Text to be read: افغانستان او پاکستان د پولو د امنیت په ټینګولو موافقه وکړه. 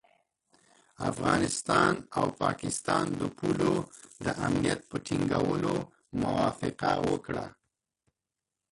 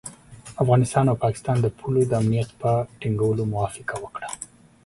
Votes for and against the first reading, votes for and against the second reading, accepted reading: 1, 2, 2, 0, second